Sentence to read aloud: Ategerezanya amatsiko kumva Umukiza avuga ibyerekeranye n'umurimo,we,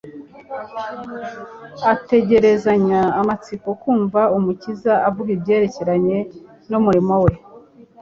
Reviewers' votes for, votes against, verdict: 3, 0, accepted